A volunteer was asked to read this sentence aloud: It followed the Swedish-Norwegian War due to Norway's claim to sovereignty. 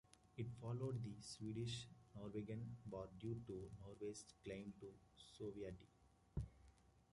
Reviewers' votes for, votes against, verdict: 1, 2, rejected